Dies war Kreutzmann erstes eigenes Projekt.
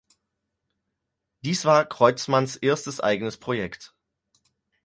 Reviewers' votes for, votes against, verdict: 0, 4, rejected